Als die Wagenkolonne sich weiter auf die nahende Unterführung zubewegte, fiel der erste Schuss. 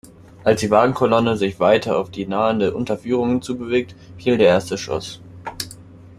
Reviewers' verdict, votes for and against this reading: accepted, 2, 1